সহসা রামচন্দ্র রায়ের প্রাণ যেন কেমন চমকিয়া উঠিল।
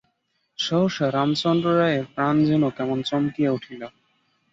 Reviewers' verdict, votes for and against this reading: accepted, 5, 0